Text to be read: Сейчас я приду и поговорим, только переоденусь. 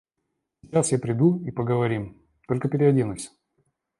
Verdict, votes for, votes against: rejected, 1, 2